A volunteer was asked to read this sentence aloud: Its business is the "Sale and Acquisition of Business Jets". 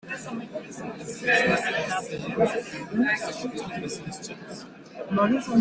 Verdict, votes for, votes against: rejected, 0, 2